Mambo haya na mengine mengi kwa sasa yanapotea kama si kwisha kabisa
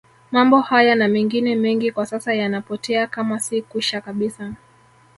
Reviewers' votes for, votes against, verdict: 1, 2, rejected